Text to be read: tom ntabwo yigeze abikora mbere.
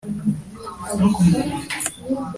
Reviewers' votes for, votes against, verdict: 0, 2, rejected